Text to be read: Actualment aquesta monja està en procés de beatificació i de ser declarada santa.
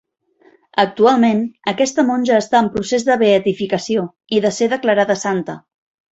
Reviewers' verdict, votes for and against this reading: accepted, 3, 0